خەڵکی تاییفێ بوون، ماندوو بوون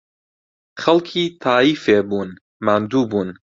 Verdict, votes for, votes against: accepted, 2, 0